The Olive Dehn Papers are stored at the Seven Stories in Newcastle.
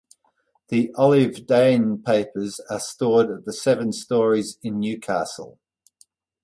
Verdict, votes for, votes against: accepted, 2, 0